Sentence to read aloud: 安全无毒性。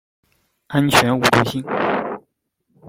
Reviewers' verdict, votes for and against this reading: accepted, 2, 0